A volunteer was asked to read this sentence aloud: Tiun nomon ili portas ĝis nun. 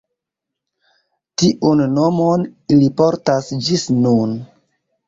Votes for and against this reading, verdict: 2, 0, accepted